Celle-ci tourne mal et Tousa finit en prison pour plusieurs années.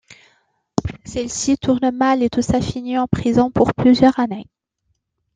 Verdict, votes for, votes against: accepted, 2, 0